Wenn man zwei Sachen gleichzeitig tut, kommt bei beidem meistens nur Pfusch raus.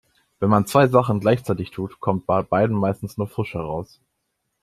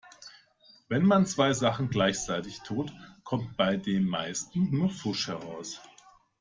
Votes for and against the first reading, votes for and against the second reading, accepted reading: 2, 1, 1, 2, first